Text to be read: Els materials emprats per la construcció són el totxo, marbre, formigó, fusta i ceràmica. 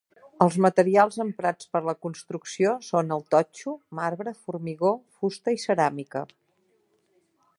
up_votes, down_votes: 3, 0